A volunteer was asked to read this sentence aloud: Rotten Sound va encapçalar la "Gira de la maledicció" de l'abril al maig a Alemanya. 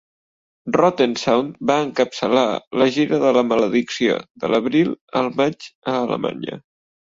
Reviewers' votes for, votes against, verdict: 3, 0, accepted